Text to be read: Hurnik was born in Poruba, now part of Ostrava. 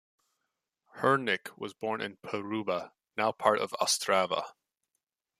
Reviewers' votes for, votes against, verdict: 2, 0, accepted